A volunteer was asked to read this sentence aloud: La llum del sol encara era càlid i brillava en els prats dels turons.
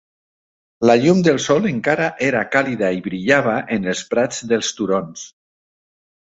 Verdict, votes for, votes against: rejected, 1, 2